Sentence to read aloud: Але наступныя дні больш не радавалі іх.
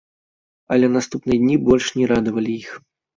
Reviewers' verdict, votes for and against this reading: accepted, 2, 0